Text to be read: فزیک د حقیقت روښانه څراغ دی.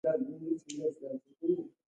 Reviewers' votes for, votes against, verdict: 0, 2, rejected